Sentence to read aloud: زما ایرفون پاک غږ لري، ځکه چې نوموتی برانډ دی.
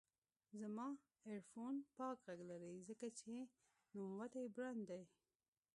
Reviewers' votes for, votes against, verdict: 1, 2, rejected